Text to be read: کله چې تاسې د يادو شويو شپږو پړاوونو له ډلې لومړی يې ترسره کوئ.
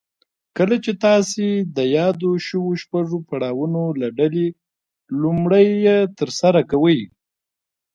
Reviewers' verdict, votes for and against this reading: rejected, 1, 2